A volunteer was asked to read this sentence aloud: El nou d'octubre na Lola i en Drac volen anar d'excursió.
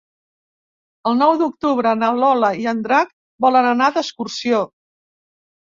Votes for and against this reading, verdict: 3, 0, accepted